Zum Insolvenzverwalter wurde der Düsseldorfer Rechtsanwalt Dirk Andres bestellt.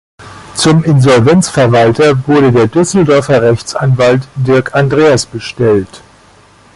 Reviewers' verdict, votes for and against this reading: rejected, 0, 2